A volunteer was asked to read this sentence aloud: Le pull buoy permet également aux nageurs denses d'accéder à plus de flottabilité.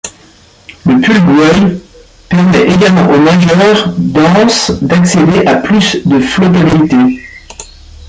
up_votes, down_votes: 0, 2